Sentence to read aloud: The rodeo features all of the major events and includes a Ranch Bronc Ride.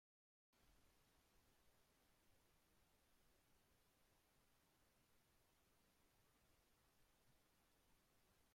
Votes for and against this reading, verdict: 0, 2, rejected